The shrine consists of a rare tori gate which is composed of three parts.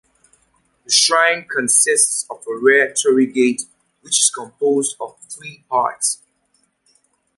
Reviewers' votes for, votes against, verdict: 2, 0, accepted